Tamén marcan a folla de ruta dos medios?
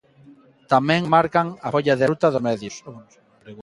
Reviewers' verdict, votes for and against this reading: rejected, 0, 2